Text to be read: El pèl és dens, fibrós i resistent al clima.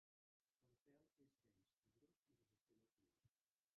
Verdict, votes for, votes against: rejected, 0, 2